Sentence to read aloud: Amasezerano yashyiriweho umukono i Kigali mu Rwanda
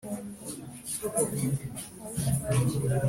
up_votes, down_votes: 0, 2